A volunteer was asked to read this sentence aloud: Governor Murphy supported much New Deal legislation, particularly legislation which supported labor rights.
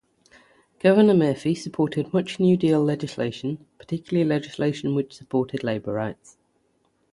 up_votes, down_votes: 6, 0